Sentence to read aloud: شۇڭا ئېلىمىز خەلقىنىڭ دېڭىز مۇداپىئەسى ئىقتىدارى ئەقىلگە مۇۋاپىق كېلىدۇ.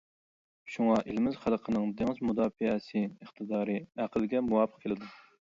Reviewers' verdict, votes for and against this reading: accepted, 2, 0